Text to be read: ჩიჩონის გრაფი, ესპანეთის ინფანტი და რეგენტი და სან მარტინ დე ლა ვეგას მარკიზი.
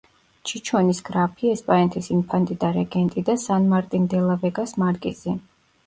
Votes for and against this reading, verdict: 0, 2, rejected